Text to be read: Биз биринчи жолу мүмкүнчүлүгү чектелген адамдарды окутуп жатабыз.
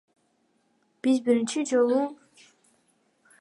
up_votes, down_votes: 1, 2